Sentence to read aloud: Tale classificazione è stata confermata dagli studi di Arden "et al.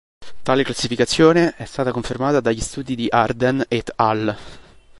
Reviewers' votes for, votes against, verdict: 3, 0, accepted